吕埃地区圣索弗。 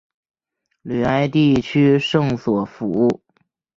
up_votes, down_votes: 2, 1